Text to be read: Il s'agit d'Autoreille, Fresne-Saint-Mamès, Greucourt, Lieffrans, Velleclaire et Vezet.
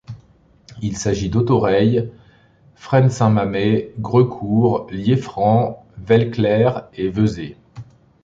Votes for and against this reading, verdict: 2, 0, accepted